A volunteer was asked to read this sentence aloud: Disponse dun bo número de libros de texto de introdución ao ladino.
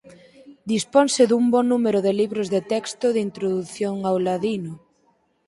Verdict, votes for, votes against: accepted, 4, 0